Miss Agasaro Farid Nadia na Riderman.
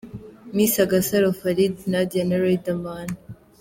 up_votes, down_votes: 2, 0